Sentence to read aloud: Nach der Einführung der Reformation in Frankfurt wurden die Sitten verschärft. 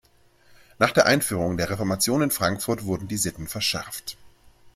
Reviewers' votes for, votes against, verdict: 2, 0, accepted